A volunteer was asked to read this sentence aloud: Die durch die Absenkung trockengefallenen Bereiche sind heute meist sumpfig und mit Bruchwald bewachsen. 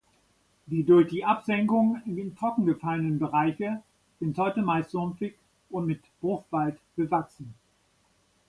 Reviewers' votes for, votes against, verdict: 1, 2, rejected